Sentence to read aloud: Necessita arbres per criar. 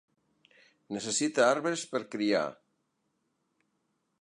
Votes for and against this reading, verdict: 2, 0, accepted